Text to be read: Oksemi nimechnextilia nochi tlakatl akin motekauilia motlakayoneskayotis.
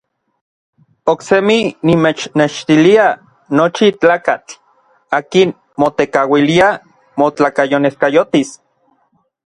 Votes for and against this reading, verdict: 2, 0, accepted